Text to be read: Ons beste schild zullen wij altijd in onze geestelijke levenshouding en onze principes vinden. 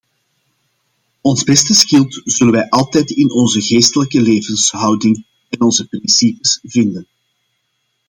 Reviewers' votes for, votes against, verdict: 1, 2, rejected